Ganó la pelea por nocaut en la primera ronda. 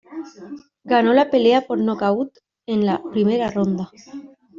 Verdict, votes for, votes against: rejected, 1, 2